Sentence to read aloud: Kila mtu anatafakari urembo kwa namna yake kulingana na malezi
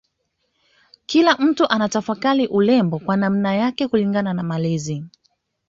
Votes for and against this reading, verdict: 2, 0, accepted